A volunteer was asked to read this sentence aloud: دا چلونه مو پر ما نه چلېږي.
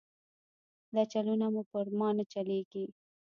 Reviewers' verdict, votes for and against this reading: rejected, 0, 2